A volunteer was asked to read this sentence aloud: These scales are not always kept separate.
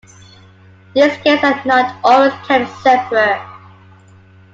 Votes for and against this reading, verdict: 2, 1, accepted